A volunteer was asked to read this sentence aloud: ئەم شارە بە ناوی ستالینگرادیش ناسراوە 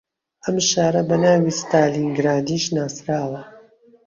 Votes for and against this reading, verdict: 2, 1, accepted